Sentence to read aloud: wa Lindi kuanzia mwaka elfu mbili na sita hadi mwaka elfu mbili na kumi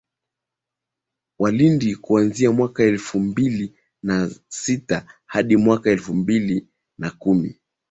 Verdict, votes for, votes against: accepted, 2, 0